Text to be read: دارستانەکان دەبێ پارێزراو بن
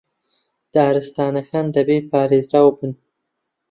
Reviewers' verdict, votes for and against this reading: accepted, 2, 0